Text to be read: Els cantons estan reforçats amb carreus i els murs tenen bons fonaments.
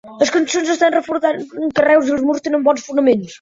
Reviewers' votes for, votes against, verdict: 1, 2, rejected